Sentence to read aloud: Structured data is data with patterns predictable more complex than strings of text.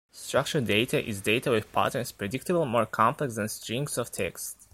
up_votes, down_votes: 2, 1